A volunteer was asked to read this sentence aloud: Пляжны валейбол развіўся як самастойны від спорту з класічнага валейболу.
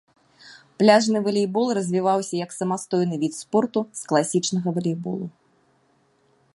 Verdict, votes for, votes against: rejected, 0, 2